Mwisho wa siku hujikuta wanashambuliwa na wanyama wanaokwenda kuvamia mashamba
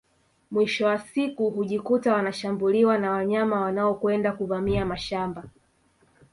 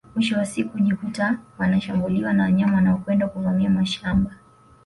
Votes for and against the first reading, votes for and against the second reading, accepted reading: 0, 2, 2, 0, second